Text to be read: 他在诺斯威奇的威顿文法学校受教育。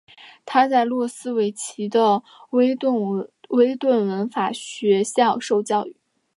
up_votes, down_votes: 2, 1